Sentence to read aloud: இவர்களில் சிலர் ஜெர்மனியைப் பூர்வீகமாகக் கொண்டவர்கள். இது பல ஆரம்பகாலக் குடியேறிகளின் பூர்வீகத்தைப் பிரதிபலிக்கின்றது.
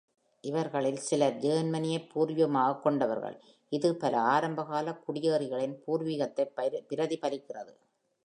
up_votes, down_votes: 1, 2